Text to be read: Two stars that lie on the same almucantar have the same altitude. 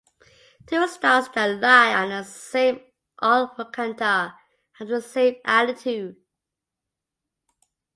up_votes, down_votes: 2, 0